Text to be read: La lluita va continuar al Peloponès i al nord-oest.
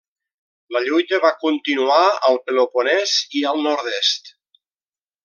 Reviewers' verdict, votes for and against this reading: rejected, 0, 2